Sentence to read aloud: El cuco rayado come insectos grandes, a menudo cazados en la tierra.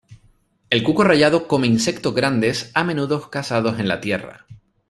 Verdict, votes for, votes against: accepted, 2, 0